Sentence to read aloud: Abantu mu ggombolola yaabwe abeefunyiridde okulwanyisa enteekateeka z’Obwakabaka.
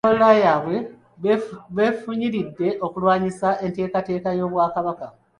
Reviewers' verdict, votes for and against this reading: rejected, 1, 2